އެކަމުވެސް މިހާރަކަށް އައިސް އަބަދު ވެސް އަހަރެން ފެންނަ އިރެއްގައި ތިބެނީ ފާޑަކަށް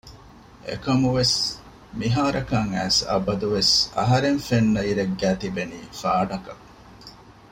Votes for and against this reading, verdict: 2, 0, accepted